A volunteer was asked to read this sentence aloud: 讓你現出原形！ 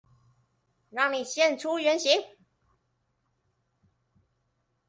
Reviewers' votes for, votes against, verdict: 2, 0, accepted